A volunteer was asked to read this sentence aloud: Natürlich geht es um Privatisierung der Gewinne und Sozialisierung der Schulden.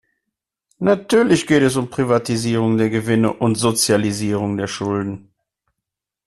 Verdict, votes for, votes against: accepted, 2, 0